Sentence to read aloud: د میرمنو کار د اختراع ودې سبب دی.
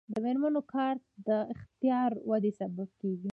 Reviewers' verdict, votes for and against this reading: rejected, 1, 2